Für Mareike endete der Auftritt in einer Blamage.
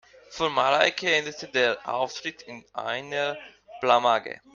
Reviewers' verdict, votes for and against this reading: rejected, 0, 2